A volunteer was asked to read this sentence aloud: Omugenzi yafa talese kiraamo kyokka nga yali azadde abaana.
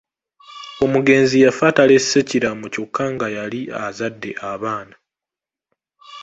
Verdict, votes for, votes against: accepted, 2, 0